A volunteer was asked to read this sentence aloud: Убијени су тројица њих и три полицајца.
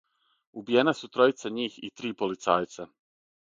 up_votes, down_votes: 3, 6